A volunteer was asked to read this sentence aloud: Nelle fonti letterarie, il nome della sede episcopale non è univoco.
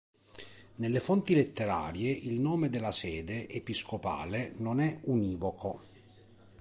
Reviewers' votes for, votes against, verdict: 2, 0, accepted